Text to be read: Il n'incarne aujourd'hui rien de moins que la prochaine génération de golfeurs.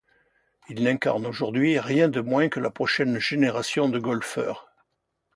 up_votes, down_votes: 2, 0